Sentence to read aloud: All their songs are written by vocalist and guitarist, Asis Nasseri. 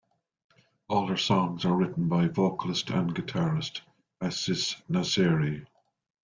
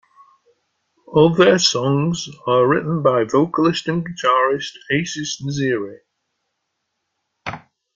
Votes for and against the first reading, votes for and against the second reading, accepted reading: 2, 0, 0, 2, first